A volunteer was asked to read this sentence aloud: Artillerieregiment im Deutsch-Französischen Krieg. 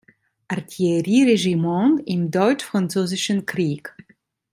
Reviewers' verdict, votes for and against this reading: accepted, 2, 1